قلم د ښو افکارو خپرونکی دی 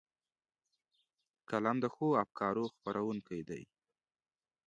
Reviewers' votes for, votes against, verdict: 2, 0, accepted